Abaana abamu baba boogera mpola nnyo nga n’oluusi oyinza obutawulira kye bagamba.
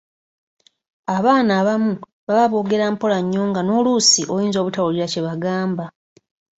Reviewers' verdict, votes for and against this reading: accepted, 3, 0